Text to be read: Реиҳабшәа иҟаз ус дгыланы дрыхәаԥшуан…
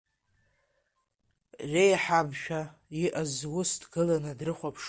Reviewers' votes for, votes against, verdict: 3, 2, accepted